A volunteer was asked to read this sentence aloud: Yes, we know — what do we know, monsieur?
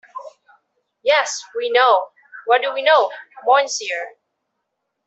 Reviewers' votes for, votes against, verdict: 2, 0, accepted